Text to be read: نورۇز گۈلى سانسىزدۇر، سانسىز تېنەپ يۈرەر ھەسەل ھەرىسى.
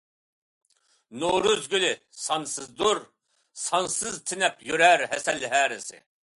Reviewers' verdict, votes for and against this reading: accepted, 2, 0